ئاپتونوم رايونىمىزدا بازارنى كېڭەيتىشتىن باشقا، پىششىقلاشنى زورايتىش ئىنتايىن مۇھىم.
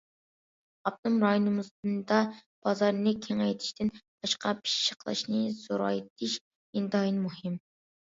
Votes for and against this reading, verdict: 0, 2, rejected